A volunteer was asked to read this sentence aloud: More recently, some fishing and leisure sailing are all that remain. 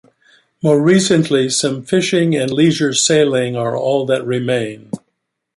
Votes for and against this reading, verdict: 2, 0, accepted